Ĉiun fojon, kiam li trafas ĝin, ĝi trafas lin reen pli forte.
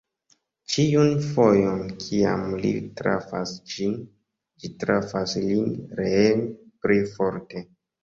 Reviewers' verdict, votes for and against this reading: accepted, 2, 0